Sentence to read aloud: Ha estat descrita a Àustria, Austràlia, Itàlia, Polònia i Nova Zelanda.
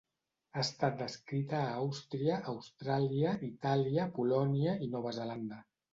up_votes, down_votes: 2, 1